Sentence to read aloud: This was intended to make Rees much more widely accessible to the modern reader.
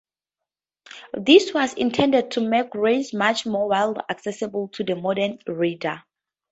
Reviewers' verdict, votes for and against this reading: accepted, 2, 0